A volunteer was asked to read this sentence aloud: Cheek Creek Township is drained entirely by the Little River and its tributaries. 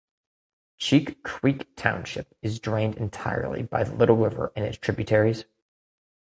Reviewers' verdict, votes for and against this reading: accepted, 2, 0